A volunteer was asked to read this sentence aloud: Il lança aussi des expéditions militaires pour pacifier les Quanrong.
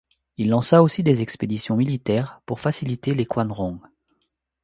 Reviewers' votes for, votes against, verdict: 1, 2, rejected